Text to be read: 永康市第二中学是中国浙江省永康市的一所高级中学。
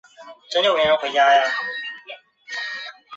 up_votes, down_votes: 0, 2